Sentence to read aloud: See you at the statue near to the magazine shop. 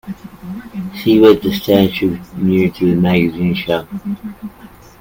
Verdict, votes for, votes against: rejected, 1, 2